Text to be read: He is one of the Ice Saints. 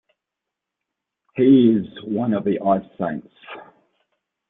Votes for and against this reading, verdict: 0, 2, rejected